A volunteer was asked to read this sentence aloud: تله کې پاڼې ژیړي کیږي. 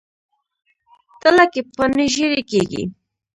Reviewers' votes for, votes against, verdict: 2, 0, accepted